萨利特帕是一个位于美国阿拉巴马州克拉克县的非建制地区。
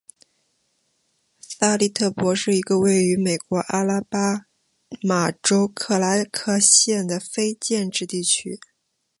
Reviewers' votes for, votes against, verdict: 5, 0, accepted